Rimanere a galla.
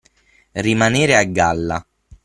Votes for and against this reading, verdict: 9, 0, accepted